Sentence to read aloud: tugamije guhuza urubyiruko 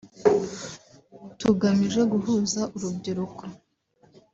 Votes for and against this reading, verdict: 2, 0, accepted